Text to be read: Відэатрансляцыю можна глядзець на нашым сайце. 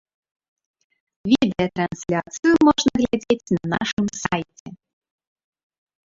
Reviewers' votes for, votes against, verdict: 0, 2, rejected